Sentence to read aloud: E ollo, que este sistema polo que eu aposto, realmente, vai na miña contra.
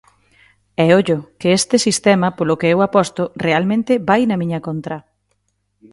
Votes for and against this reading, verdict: 2, 0, accepted